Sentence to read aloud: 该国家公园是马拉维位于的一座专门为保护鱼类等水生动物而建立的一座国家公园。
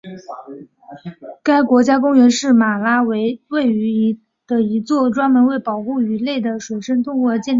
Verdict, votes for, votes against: rejected, 1, 2